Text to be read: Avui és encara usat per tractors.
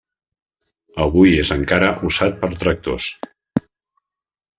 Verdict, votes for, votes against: rejected, 0, 2